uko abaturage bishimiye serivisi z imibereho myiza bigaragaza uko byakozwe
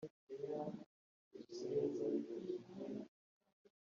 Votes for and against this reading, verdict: 0, 2, rejected